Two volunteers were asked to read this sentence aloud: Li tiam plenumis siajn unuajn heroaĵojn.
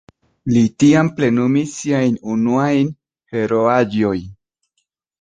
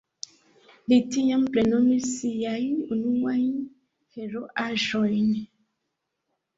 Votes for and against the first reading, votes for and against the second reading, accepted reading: 3, 2, 1, 2, first